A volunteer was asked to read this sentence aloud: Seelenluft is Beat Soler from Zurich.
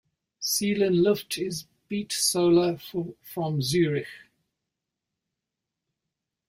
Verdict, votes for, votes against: rejected, 0, 2